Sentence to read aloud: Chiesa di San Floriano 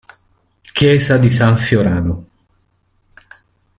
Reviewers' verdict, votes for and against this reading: rejected, 0, 2